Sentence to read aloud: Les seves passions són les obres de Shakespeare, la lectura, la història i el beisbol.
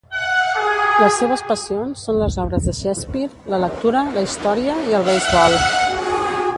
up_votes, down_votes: 0, 2